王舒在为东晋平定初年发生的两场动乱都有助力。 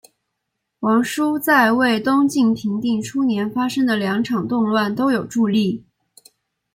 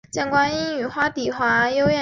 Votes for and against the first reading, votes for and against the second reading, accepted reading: 2, 0, 0, 2, first